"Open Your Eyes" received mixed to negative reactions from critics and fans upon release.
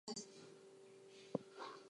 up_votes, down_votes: 0, 4